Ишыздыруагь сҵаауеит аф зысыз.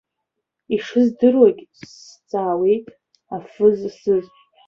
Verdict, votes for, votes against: accepted, 2, 1